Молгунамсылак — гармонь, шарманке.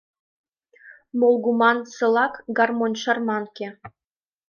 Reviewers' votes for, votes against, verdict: 3, 4, rejected